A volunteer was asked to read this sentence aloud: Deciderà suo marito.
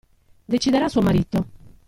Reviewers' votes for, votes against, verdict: 2, 1, accepted